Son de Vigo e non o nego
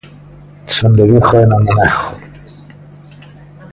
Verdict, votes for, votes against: accepted, 2, 0